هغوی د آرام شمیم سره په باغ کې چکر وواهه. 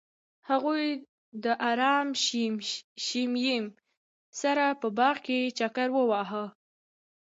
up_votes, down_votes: 1, 2